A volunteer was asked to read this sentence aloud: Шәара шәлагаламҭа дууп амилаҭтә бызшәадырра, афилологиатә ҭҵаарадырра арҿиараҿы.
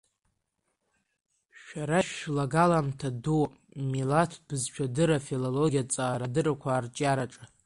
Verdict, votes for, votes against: accepted, 2, 1